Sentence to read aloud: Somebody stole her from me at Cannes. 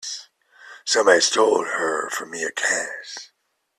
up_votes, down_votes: 1, 2